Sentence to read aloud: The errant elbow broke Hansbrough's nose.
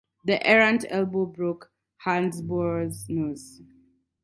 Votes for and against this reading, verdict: 4, 0, accepted